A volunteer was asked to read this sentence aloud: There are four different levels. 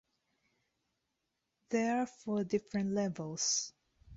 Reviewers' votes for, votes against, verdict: 0, 2, rejected